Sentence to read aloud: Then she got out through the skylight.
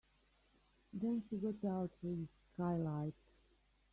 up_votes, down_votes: 1, 2